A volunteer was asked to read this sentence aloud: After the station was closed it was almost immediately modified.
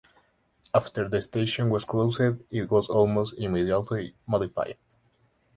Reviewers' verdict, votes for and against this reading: rejected, 4, 5